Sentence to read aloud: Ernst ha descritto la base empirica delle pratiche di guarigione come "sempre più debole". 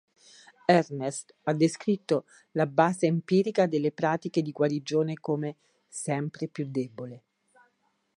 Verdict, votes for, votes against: accepted, 3, 1